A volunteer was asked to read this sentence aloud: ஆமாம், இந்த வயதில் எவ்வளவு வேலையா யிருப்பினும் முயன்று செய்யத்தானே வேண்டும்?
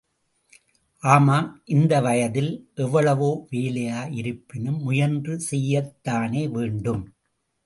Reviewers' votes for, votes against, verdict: 2, 0, accepted